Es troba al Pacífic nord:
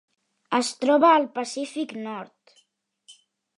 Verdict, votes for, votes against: accepted, 3, 0